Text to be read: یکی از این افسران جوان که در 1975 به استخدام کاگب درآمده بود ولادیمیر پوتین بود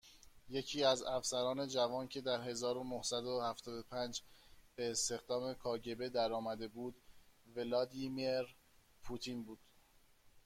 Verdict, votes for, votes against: rejected, 0, 2